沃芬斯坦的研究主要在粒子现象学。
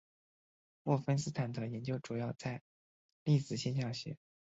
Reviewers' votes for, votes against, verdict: 0, 4, rejected